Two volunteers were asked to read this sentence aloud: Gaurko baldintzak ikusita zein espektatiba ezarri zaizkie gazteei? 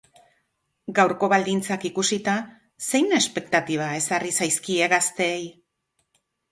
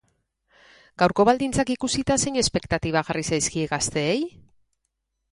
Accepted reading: first